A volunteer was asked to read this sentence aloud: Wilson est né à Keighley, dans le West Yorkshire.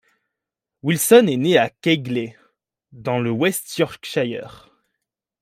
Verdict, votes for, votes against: accepted, 2, 0